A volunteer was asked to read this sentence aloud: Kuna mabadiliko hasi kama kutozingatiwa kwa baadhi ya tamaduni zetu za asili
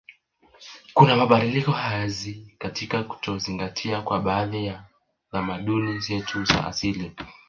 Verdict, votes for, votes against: rejected, 0, 2